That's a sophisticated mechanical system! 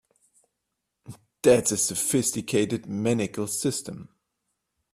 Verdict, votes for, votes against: rejected, 1, 2